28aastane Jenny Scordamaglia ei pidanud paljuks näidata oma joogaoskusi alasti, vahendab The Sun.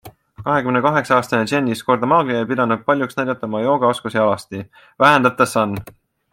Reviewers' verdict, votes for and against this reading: rejected, 0, 2